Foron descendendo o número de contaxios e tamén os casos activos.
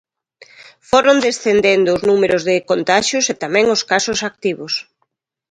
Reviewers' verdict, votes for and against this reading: rejected, 0, 2